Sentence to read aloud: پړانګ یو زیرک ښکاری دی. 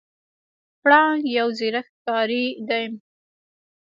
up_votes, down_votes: 1, 2